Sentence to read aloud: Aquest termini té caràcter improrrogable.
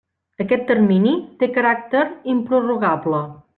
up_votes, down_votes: 3, 0